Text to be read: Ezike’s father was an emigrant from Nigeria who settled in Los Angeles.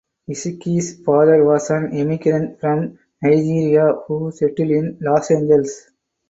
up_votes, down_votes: 4, 0